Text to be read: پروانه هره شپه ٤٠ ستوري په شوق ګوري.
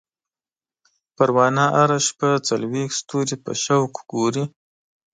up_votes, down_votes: 0, 2